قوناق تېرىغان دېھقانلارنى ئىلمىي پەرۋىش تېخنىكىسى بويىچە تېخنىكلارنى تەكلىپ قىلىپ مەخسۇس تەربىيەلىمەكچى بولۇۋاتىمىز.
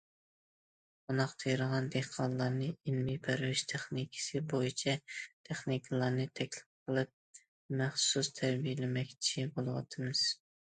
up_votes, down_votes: 2, 1